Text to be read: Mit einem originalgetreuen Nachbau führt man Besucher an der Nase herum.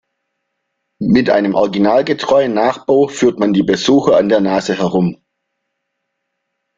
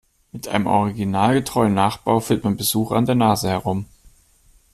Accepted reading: second